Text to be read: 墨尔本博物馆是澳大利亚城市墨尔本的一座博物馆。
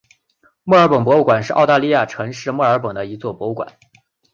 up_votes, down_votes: 4, 0